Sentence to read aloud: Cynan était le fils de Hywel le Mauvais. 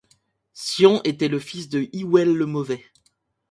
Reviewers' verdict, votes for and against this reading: rejected, 1, 2